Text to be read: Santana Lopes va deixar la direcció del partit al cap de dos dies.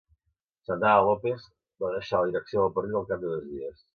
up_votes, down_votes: 0, 2